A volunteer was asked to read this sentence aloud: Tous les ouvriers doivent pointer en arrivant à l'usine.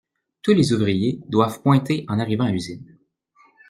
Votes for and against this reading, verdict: 2, 0, accepted